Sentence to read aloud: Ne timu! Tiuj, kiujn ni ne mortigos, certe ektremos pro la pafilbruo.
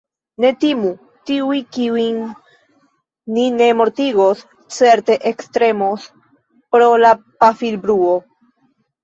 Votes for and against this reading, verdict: 2, 1, accepted